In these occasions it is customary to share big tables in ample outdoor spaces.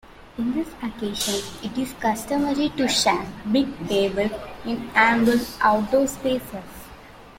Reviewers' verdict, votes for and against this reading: rejected, 0, 2